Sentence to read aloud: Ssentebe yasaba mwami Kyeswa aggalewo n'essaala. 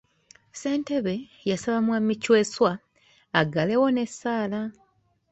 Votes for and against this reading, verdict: 2, 0, accepted